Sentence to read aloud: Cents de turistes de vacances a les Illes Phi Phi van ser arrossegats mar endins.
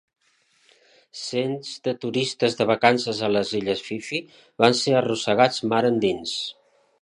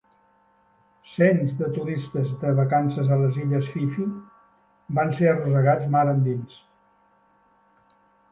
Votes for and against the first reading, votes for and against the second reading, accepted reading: 2, 0, 0, 2, first